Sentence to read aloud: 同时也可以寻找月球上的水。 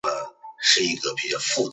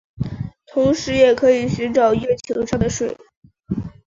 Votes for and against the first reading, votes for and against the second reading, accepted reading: 0, 3, 3, 0, second